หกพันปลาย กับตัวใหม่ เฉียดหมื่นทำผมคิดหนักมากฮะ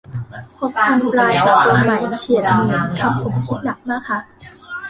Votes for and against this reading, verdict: 0, 2, rejected